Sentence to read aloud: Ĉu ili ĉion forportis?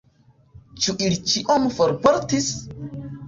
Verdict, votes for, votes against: accepted, 2, 0